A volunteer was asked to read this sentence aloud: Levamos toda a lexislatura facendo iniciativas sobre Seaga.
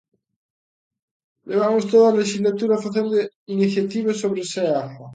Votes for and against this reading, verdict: 1, 2, rejected